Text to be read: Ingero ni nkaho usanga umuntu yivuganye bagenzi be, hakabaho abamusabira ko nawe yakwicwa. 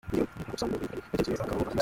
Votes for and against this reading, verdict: 0, 3, rejected